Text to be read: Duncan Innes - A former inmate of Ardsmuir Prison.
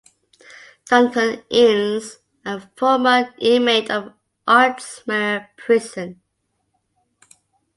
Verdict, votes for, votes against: accepted, 2, 0